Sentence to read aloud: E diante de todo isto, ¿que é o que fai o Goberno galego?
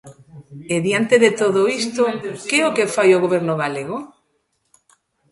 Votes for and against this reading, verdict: 2, 0, accepted